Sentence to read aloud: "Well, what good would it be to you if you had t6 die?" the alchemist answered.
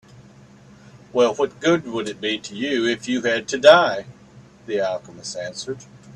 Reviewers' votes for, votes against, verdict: 0, 2, rejected